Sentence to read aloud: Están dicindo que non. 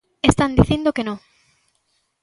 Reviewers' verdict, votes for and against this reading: rejected, 1, 2